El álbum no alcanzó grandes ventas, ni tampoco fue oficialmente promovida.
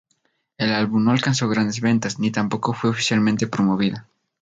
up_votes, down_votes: 4, 0